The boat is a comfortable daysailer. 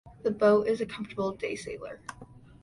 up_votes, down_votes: 2, 1